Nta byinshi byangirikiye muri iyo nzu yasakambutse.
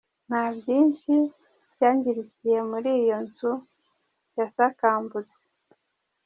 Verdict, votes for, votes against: rejected, 1, 3